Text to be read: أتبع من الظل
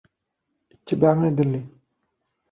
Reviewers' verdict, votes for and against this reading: rejected, 0, 2